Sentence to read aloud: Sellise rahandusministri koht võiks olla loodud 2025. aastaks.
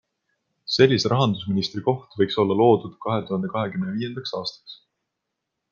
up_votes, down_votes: 0, 2